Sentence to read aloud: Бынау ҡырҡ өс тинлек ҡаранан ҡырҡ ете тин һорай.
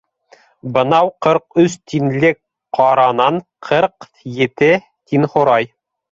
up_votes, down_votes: 3, 0